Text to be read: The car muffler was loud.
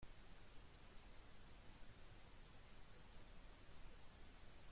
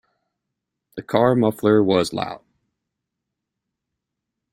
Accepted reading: second